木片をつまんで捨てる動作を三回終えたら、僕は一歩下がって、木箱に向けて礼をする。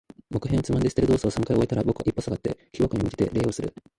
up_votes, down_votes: 0, 2